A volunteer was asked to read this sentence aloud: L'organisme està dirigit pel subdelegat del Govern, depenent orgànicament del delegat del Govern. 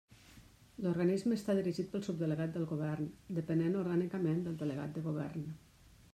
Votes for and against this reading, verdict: 2, 1, accepted